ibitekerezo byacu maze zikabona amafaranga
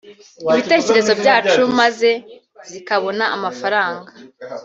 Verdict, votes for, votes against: accepted, 2, 0